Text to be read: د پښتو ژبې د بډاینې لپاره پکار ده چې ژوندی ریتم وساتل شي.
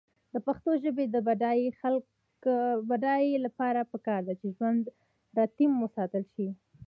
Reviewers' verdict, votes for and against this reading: rejected, 1, 2